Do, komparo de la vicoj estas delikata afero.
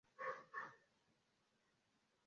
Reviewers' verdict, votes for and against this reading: rejected, 0, 2